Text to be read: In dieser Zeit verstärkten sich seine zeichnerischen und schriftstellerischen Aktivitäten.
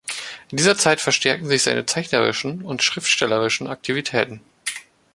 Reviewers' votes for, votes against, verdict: 1, 3, rejected